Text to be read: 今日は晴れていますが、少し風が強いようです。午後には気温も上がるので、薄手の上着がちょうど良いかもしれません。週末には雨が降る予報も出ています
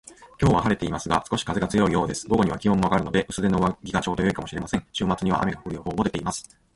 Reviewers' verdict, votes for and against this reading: accepted, 2, 0